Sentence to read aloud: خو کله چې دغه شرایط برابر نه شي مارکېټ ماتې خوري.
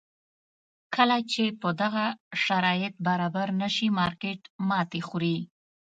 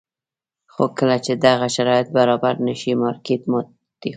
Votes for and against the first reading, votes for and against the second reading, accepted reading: 0, 2, 2, 0, second